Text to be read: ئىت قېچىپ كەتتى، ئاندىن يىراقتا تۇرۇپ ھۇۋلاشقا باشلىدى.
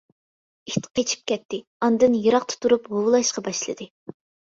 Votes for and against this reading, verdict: 2, 0, accepted